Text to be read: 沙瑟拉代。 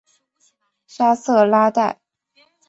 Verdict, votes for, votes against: accepted, 2, 0